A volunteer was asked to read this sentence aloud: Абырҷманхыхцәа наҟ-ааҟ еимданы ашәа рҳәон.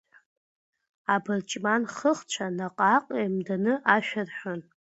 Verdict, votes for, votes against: accepted, 2, 0